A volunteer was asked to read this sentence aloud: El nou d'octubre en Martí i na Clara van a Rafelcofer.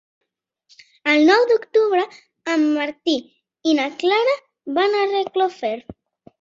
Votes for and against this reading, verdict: 0, 2, rejected